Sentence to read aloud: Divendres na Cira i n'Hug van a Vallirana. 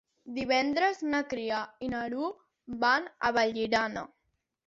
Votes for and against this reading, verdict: 0, 2, rejected